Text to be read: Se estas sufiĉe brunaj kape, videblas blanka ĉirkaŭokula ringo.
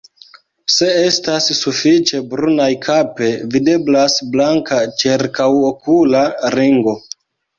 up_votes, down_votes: 2, 1